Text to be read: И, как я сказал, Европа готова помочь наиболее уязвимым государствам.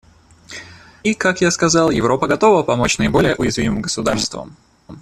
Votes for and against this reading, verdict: 1, 2, rejected